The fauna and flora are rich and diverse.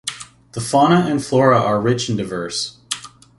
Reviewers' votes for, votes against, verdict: 2, 0, accepted